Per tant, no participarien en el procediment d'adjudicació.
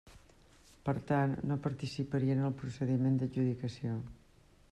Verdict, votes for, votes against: rejected, 1, 2